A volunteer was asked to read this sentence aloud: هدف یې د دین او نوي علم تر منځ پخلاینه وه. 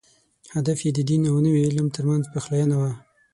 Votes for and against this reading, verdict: 6, 0, accepted